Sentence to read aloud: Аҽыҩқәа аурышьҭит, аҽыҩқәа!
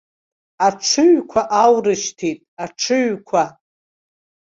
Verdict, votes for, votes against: accepted, 2, 0